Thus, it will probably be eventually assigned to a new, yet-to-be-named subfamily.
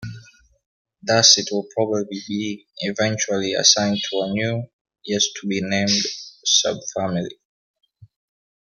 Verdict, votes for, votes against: rejected, 0, 2